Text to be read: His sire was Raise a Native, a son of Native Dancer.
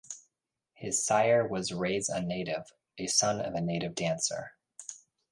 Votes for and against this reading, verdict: 1, 2, rejected